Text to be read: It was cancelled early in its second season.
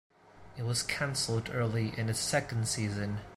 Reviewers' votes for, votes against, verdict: 2, 0, accepted